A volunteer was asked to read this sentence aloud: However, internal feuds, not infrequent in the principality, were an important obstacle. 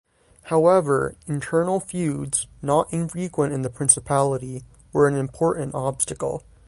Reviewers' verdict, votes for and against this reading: accepted, 3, 0